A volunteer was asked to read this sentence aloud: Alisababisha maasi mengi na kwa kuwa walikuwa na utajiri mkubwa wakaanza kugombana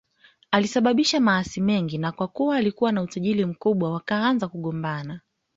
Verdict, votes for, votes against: accepted, 2, 1